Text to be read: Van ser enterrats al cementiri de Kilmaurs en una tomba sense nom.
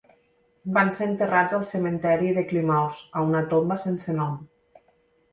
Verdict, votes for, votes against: accepted, 2, 0